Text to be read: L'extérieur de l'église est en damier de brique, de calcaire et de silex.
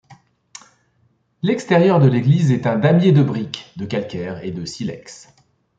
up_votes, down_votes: 0, 2